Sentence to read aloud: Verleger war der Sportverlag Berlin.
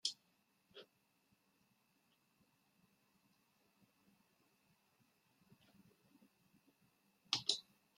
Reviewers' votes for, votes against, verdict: 0, 2, rejected